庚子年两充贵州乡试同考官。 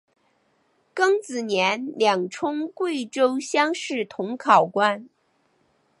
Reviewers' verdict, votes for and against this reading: accepted, 2, 1